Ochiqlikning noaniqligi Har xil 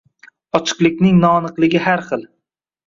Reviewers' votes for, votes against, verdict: 2, 0, accepted